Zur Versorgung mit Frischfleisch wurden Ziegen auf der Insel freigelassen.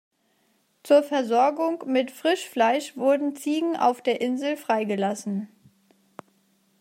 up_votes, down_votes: 2, 0